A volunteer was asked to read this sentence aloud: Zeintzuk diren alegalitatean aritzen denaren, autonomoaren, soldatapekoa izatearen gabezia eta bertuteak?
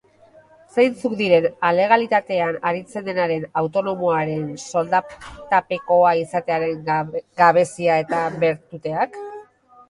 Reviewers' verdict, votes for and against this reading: rejected, 1, 2